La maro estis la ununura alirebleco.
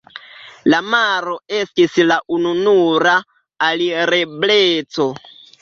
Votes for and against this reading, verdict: 2, 0, accepted